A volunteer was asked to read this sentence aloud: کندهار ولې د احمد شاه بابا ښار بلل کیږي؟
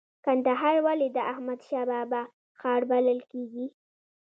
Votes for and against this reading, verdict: 1, 2, rejected